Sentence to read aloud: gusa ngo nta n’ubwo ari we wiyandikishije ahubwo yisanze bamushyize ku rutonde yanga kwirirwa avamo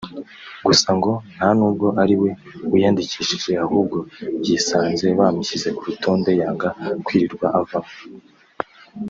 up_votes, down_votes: 2, 0